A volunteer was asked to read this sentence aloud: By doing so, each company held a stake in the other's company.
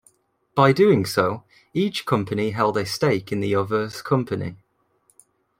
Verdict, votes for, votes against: accepted, 2, 0